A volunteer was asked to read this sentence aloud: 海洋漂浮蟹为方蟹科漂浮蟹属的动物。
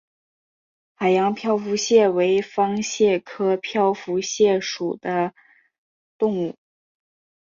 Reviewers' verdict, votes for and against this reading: accepted, 4, 1